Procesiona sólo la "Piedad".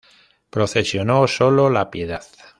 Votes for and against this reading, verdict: 0, 2, rejected